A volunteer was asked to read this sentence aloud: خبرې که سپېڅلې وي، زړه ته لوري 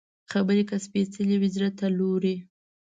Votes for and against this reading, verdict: 0, 2, rejected